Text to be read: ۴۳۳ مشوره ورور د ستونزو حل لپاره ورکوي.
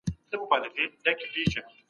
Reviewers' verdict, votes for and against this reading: rejected, 0, 2